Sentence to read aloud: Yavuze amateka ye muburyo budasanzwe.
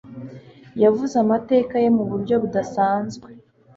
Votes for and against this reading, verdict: 2, 0, accepted